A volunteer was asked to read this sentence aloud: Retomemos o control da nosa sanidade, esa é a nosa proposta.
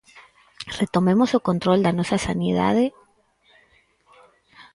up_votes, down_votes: 0, 4